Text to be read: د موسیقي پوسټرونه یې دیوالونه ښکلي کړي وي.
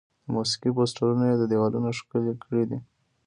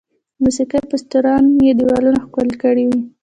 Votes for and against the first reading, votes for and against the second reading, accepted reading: 1, 2, 2, 0, second